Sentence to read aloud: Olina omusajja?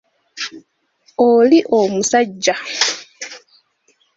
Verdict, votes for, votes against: rejected, 0, 2